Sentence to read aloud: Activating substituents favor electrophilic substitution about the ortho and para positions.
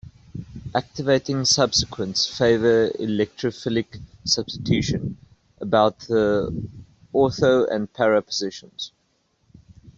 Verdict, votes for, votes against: rejected, 0, 2